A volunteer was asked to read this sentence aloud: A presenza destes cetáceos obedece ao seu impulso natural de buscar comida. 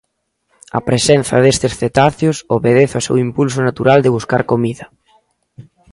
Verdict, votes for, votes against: accepted, 2, 0